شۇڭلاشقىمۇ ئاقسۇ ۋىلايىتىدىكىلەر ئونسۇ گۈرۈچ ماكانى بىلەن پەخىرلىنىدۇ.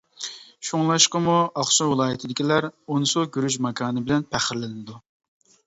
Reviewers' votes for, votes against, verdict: 2, 0, accepted